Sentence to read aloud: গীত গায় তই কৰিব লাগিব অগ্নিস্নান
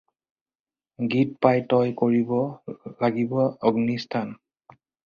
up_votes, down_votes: 0, 4